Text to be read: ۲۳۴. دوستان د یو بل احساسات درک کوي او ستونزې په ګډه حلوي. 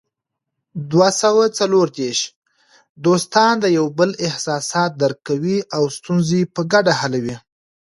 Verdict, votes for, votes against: rejected, 0, 2